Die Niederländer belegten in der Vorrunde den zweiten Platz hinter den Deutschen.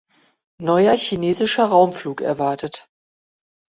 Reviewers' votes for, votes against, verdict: 0, 2, rejected